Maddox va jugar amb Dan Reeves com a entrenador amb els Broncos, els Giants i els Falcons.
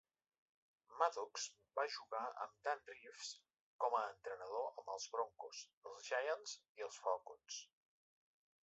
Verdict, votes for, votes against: rejected, 1, 2